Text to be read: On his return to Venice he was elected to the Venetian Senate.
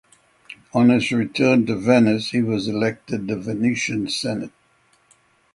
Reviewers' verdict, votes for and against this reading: accepted, 3, 0